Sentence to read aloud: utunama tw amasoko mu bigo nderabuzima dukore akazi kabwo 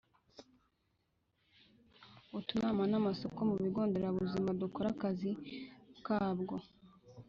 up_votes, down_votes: 1, 2